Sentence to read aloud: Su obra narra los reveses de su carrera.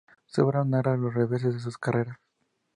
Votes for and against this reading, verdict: 4, 0, accepted